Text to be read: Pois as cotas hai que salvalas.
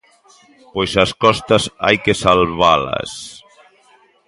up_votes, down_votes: 0, 2